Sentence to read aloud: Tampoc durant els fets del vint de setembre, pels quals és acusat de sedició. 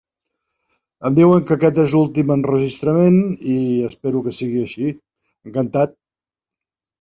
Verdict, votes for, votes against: rejected, 1, 2